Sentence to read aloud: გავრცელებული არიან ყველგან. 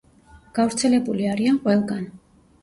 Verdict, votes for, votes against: accepted, 2, 0